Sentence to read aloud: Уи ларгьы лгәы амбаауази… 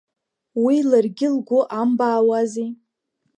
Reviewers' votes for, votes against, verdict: 2, 0, accepted